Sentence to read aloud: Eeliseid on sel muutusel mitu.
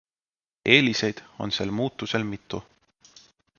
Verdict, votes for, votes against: accepted, 2, 0